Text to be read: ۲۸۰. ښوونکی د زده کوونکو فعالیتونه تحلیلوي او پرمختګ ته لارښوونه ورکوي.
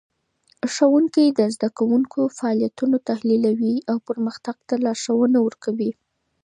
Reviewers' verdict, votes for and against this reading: rejected, 0, 2